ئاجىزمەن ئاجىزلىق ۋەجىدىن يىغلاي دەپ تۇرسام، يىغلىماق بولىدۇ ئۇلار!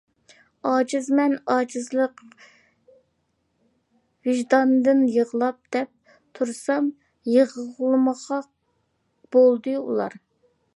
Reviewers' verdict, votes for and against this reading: rejected, 0, 2